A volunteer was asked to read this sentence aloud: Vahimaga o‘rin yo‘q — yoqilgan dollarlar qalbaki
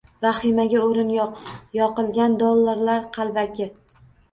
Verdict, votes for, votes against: accepted, 2, 0